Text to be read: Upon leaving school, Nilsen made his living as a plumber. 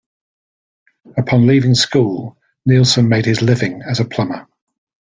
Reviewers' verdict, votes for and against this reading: accepted, 2, 0